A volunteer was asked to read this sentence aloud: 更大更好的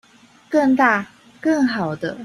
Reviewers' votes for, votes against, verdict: 2, 0, accepted